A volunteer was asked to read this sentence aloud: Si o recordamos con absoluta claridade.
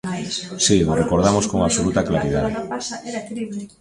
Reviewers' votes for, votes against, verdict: 0, 2, rejected